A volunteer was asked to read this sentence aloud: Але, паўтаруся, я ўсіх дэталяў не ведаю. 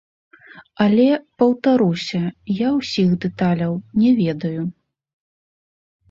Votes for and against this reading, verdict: 1, 2, rejected